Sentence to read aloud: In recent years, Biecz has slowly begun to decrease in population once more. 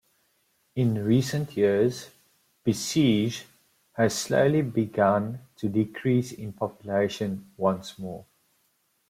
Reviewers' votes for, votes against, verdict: 0, 2, rejected